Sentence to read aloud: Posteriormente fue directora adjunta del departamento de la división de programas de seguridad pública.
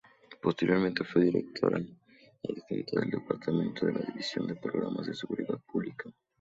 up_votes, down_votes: 2, 2